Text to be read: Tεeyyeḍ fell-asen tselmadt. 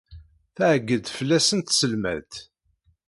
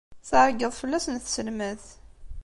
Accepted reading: second